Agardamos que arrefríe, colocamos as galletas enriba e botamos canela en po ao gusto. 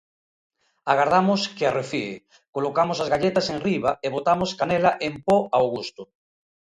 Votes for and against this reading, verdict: 1, 2, rejected